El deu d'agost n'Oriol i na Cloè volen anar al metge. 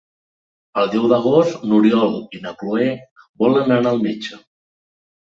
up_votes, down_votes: 2, 0